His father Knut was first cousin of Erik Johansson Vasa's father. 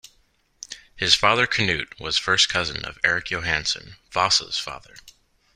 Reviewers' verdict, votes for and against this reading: accepted, 3, 0